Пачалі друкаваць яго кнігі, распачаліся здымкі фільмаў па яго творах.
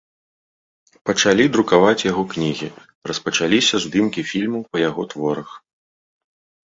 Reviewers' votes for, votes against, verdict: 2, 0, accepted